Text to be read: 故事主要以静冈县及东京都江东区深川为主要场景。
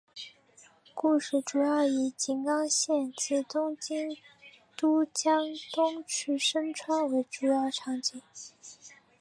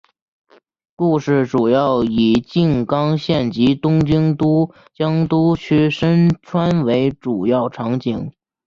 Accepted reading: second